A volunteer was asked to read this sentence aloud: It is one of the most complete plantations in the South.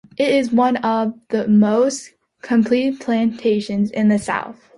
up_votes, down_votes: 2, 0